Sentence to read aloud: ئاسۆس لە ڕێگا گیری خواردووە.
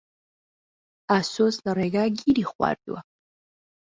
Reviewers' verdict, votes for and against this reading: accepted, 2, 0